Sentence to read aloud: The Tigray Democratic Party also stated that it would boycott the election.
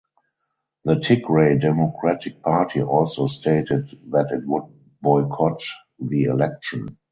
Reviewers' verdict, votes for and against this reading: rejected, 2, 2